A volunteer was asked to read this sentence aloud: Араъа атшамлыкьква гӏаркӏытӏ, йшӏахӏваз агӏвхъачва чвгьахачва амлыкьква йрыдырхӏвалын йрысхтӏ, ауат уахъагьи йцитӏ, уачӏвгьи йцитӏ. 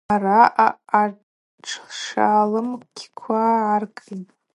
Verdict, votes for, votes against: rejected, 0, 2